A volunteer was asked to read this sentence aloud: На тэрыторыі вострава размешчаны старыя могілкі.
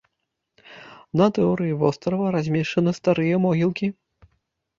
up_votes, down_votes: 1, 2